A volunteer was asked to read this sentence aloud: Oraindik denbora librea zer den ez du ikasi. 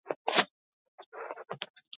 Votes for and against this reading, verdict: 0, 4, rejected